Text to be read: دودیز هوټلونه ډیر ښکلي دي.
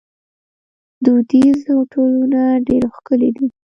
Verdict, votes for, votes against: rejected, 0, 3